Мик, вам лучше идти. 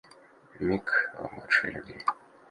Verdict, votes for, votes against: rejected, 1, 2